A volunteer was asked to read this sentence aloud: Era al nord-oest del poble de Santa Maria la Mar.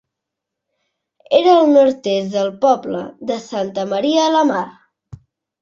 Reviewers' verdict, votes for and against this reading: rejected, 0, 2